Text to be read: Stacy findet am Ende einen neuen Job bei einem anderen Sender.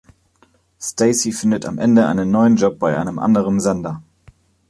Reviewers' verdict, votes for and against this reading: accepted, 2, 0